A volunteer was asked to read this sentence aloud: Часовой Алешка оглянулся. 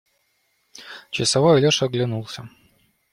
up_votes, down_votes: 0, 2